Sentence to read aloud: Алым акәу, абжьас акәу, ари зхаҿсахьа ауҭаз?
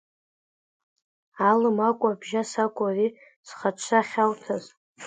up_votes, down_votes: 2, 1